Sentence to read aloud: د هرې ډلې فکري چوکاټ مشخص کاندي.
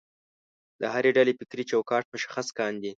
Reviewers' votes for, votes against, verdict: 3, 0, accepted